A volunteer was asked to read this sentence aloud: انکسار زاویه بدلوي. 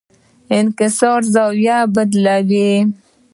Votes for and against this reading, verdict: 2, 1, accepted